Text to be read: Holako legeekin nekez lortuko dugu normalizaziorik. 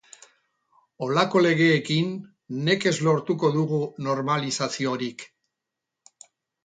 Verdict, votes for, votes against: accepted, 4, 0